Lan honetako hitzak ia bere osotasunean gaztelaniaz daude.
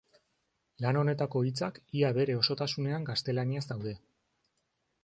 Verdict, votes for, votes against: accepted, 2, 0